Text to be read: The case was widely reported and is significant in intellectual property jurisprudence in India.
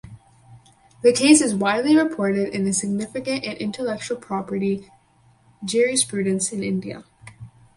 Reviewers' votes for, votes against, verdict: 4, 0, accepted